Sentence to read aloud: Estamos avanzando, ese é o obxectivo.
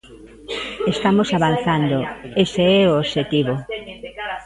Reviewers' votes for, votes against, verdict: 0, 2, rejected